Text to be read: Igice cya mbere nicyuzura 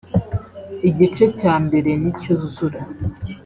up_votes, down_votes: 3, 0